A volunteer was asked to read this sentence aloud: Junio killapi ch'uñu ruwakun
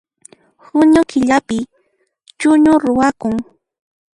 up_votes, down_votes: 1, 2